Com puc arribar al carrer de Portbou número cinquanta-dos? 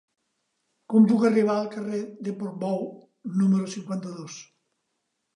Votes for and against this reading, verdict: 3, 0, accepted